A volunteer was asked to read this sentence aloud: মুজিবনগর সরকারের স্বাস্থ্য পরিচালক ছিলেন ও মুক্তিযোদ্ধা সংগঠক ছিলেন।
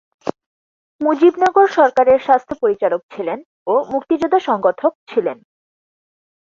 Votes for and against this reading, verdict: 4, 0, accepted